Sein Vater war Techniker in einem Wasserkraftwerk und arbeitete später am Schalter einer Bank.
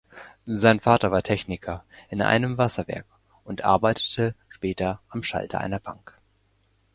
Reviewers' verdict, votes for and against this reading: rejected, 0, 2